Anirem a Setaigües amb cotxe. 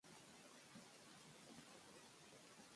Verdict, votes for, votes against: rejected, 0, 2